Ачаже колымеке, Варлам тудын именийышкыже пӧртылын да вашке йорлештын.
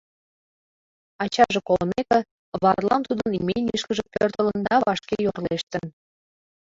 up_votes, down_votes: 0, 2